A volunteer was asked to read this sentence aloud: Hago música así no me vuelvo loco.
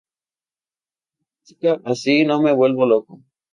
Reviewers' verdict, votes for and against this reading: accepted, 4, 0